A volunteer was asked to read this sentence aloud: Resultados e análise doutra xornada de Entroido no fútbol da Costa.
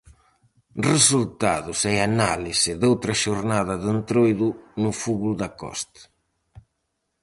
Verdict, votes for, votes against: rejected, 2, 2